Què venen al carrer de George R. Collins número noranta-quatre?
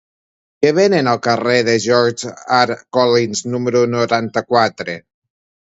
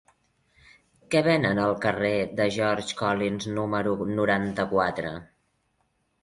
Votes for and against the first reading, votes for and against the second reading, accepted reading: 2, 1, 0, 2, first